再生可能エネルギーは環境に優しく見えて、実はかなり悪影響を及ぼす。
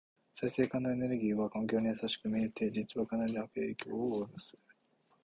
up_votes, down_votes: 2, 0